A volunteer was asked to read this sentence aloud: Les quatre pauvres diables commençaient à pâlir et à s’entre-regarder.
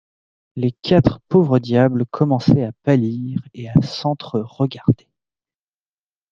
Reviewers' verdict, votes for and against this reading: accepted, 2, 0